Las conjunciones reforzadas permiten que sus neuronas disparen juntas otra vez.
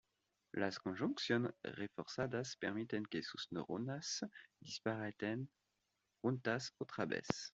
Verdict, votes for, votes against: rejected, 1, 2